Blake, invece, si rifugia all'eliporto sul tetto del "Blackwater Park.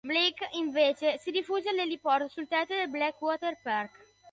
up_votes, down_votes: 0, 2